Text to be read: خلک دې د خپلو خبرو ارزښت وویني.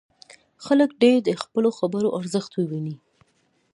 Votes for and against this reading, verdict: 0, 2, rejected